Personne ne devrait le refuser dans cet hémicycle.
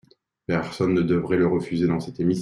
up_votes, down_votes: 1, 2